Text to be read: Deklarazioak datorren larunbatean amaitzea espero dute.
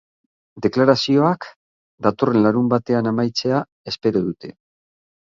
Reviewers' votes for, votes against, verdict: 9, 0, accepted